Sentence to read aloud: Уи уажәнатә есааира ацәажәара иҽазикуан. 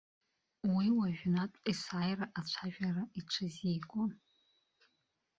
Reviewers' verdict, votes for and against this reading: rejected, 0, 2